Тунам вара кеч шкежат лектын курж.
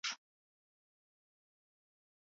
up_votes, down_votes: 0, 2